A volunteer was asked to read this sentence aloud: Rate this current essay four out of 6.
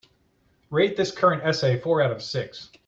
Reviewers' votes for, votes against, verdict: 0, 2, rejected